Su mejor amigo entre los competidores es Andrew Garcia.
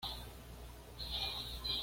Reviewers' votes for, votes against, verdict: 1, 2, rejected